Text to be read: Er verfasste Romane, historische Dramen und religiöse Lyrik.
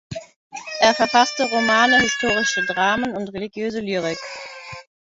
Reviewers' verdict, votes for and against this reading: accepted, 2, 0